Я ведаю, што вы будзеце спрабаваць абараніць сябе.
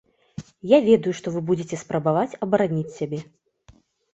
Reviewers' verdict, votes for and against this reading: accepted, 2, 0